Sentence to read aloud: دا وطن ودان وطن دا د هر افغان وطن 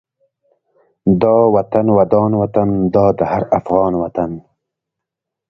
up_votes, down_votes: 2, 0